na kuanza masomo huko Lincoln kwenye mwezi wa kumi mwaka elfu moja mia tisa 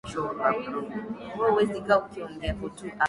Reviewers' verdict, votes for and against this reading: rejected, 0, 2